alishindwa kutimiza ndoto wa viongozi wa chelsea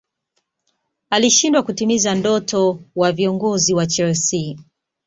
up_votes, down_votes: 2, 0